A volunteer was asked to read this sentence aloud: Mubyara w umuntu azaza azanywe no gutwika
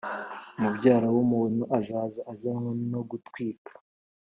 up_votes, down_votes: 3, 0